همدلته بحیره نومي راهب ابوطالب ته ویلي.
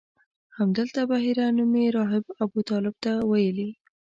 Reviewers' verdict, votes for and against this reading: accepted, 2, 0